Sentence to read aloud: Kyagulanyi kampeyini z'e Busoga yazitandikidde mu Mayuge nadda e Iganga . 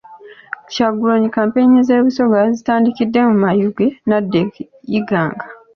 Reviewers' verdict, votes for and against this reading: accepted, 2, 0